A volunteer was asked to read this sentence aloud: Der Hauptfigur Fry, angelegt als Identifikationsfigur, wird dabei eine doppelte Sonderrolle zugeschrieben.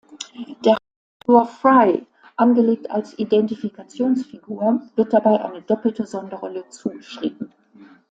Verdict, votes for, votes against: accepted, 2, 0